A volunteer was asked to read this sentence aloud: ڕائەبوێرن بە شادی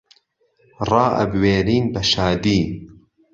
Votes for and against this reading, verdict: 1, 2, rejected